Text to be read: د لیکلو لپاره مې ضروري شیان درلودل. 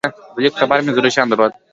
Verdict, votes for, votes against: rejected, 0, 2